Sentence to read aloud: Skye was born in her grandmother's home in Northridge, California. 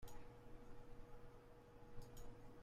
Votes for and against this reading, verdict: 0, 2, rejected